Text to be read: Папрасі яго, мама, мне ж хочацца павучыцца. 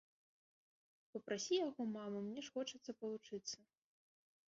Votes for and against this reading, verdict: 0, 2, rejected